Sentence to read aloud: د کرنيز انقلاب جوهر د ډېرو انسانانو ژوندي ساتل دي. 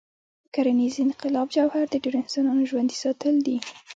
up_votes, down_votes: 2, 0